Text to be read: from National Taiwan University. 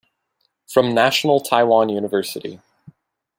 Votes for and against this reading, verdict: 2, 1, accepted